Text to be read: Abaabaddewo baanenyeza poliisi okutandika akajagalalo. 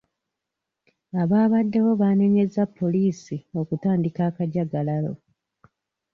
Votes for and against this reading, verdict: 2, 0, accepted